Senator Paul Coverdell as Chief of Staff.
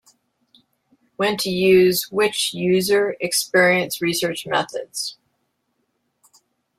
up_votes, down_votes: 1, 2